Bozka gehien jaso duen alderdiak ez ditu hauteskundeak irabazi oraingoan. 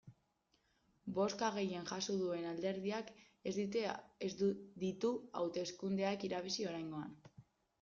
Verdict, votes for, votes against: rejected, 0, 2